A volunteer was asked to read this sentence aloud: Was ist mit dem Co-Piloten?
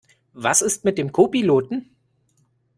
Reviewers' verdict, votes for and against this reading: accepted, 2, 0